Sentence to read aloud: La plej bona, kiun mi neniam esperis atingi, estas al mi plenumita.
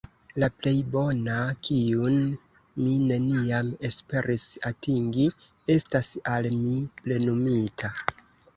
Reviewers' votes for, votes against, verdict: 2, 3, rejected